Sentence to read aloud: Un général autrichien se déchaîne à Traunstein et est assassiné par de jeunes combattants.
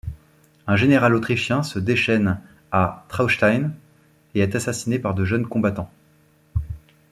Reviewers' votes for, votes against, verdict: 2, 0, accepted